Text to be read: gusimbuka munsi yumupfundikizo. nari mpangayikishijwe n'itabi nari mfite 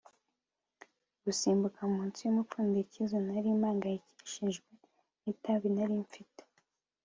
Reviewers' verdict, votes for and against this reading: accepted, 2, 0